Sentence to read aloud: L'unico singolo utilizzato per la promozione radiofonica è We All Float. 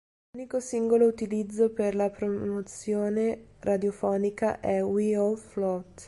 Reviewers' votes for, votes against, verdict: 0, 2, rejected